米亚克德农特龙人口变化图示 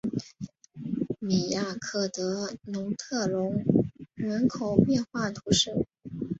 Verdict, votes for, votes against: accepted, 2, 0